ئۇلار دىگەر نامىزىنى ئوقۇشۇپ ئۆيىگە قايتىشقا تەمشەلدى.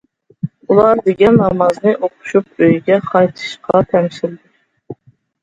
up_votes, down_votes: 0, 2